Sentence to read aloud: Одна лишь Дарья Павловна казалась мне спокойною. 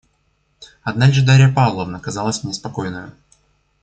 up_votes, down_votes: 2, 0